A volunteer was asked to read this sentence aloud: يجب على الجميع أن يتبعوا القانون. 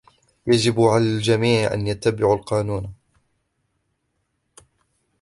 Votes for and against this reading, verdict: 2, 0, accepted